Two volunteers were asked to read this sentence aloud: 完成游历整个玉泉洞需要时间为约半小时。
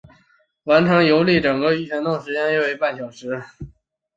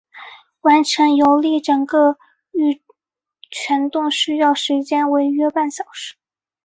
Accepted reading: second